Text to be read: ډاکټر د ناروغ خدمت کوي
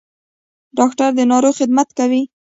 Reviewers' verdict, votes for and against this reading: accepted, 2, 0